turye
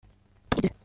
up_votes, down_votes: 0, 2